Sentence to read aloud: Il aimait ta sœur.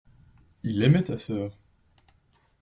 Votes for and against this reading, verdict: 2, 0, accepted